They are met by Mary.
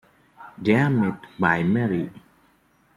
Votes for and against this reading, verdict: 2, 0, accepted